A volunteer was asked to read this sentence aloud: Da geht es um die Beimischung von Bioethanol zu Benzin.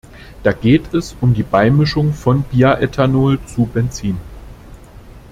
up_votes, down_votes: 0, 2